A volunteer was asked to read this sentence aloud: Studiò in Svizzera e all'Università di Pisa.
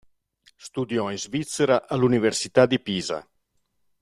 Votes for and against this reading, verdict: 0, 2, rejected